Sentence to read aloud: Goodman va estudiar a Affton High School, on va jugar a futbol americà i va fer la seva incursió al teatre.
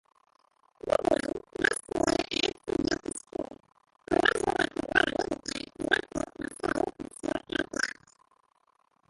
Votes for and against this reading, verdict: 0, 2, rejected